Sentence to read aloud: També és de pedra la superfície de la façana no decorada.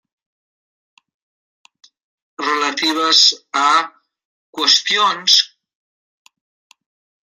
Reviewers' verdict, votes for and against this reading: rejected, 0, 2